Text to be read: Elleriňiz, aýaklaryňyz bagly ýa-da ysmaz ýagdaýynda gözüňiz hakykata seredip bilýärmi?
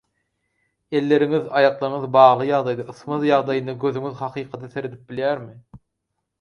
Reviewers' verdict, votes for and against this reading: rejected, 2, 4